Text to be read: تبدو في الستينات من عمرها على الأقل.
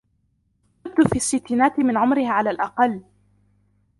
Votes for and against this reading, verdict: 0, 2, rejected